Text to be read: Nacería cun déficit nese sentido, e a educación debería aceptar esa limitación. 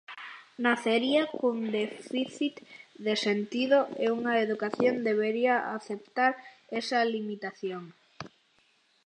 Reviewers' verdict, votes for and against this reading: rejected, 0, 2